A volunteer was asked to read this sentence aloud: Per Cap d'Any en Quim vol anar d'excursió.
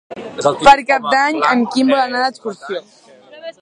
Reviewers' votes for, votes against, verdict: 1, 3, rejected